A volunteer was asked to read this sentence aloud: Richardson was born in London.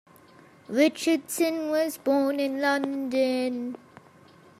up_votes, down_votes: 2, 0